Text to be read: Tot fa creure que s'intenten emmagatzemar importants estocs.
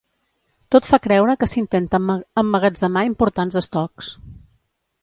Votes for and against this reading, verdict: 1, 2, rejected